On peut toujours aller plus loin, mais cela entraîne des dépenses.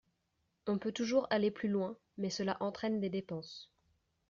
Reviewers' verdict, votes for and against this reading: accepted, 2, 0